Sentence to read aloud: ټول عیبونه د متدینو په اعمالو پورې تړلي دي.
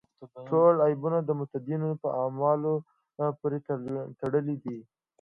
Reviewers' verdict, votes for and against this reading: rejected, 0, 2